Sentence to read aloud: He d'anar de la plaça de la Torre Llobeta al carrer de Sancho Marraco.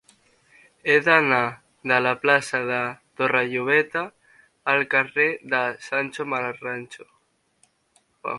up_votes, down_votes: 0, 3